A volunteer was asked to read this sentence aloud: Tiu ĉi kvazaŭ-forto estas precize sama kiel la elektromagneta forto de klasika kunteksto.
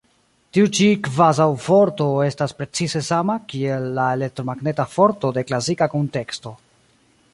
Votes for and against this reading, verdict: 2, 0, accepted